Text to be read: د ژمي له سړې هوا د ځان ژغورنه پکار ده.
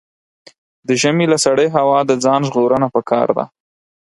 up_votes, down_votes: 6, 0